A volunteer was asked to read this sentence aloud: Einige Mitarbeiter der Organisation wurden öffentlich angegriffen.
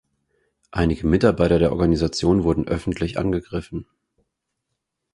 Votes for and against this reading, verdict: 4, 0, accepted